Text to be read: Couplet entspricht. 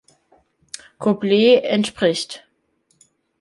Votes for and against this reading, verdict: 2, 0, accepted